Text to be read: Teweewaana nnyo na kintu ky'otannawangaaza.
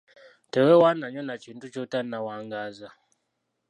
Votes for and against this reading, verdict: 1, 2, rejected